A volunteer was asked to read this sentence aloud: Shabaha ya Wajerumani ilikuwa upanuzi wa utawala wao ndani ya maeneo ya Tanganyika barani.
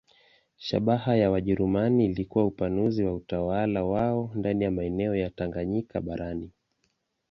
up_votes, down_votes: 0, 2